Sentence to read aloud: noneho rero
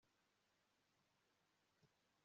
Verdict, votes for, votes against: rejected, 0, 2